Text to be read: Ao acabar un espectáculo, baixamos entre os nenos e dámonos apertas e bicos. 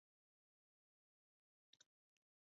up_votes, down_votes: 0, 2